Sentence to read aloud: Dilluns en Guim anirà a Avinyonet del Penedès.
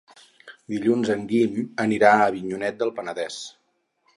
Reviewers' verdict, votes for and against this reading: accepted, 4, 0